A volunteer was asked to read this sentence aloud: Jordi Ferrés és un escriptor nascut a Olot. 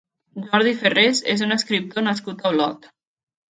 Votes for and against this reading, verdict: 2, 0, accepted